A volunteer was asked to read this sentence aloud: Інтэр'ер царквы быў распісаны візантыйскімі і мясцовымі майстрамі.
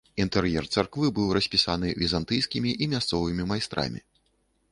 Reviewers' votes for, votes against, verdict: 2, 0, accepted